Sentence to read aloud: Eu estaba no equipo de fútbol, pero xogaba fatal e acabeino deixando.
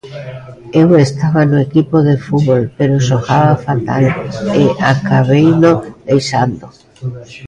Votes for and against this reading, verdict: 2, 1, accepted